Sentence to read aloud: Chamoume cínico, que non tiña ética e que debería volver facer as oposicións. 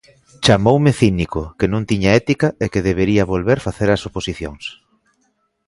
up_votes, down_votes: 2, 0